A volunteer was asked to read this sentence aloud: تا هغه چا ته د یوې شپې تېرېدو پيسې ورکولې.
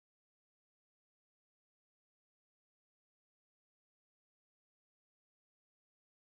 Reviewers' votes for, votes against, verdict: 0, 2, rejected